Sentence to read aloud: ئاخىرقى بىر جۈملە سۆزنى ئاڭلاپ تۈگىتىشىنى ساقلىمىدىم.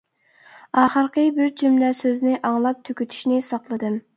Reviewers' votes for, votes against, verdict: 0, 2, rejected